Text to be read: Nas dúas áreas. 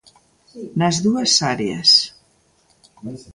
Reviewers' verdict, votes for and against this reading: accepted, 2, 1